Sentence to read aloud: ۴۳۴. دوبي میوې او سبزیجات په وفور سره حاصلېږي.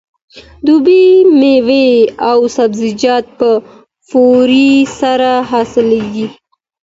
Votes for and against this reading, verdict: 0, 2, rejected